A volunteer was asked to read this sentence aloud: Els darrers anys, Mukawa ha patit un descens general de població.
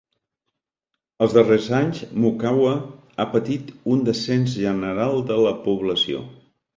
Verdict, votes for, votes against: rejected, 0, 2